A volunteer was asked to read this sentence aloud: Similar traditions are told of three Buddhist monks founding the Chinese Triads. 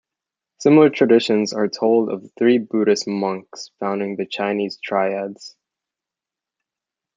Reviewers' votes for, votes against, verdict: 2, 0, accepted